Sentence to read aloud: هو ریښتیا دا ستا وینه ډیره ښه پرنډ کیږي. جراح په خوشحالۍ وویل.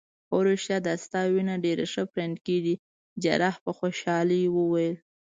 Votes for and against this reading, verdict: 2, 0, accepted